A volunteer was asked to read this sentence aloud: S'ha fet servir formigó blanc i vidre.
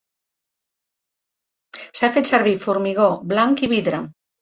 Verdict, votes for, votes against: accepted, 3, 0